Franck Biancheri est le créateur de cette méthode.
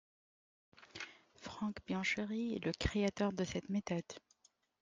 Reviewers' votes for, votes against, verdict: 1, 2, rejected